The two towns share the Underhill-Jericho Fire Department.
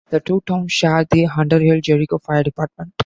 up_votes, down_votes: 2, 0